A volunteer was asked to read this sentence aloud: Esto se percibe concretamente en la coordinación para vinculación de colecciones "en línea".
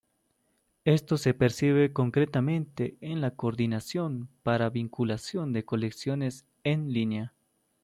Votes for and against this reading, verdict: 2, 0, accepted